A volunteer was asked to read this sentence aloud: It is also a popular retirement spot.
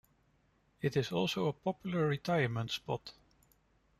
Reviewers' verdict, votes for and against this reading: rejected, 1, 2